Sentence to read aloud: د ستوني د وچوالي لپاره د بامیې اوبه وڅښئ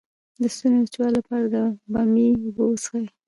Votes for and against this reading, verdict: 0, 2, rejected